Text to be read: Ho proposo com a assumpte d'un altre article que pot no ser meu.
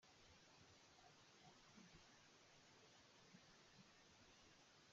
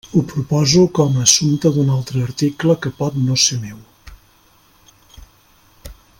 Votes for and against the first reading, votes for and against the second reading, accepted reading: 0, 2, 3, 0, second